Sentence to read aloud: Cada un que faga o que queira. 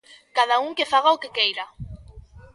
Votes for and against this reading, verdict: 1, 2, rejected